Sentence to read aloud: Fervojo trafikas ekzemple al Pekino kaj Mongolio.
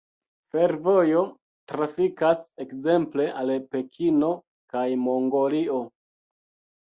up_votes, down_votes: 2, 0